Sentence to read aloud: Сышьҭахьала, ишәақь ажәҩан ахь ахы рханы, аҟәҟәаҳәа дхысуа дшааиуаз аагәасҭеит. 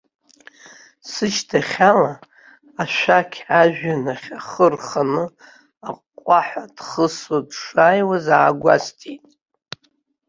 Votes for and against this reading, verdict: 0, 2, rejected